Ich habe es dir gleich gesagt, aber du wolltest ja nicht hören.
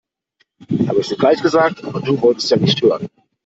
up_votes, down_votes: 1, 2